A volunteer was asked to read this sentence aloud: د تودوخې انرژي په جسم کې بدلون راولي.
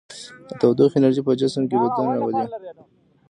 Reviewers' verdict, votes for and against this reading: rejected, 1, 3